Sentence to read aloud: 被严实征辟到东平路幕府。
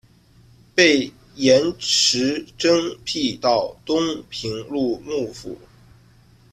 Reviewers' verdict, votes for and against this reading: rejected, 0, 2